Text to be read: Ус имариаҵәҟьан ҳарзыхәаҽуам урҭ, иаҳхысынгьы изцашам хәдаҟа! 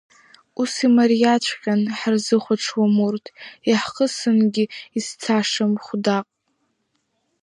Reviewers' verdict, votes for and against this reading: rejected, 1, 2